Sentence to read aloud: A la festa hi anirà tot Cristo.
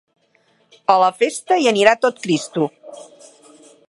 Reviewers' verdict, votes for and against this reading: accepted, 4, 0